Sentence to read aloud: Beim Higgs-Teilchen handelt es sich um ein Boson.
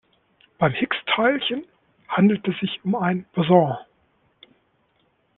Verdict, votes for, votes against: rejected, 1, 2